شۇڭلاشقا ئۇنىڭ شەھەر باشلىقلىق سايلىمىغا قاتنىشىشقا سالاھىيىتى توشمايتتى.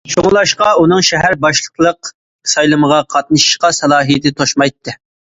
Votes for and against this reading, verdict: 2, 0, accepted